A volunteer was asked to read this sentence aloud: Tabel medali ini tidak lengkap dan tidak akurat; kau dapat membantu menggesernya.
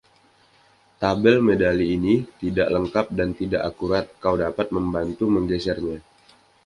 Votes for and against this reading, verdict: 2, 0, accepted